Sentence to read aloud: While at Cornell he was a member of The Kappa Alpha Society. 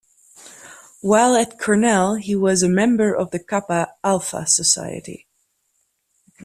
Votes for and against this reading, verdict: 2, 0, accepted